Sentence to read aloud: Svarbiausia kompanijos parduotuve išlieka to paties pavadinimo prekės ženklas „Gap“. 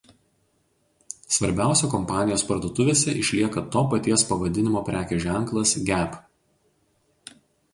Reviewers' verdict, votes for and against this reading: rejected, 0, 2